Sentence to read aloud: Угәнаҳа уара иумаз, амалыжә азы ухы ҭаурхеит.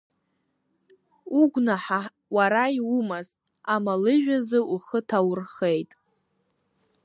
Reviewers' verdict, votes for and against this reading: rejected, 1, 2